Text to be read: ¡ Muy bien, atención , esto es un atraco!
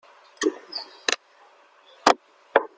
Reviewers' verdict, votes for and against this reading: rejected, 0, 2